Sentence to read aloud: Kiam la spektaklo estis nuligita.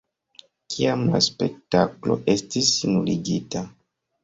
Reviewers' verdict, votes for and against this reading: accepted, 2, 0